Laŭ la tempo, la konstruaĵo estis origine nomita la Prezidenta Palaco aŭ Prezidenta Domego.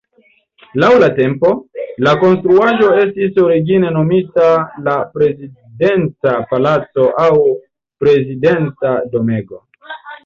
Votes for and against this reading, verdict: 1, 2, rejected